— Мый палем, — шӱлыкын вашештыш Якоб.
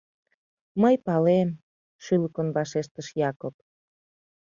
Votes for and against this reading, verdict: 2, 0, accepted